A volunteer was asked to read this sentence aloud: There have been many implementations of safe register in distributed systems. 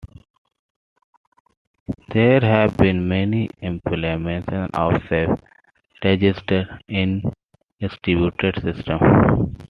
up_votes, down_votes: 2, 0